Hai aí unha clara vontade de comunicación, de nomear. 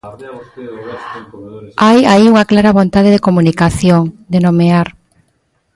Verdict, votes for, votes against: rejected, 1, 2